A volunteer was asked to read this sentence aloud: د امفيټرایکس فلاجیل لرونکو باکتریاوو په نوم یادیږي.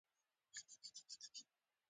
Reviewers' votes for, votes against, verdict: 0, 2, rejected